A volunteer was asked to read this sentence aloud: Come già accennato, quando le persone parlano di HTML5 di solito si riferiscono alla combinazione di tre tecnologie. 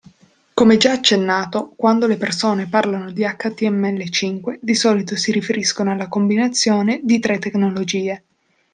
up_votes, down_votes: 0, 2